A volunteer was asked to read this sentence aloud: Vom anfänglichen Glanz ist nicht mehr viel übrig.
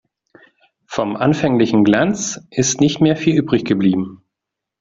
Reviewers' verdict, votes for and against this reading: rejected, 0, 2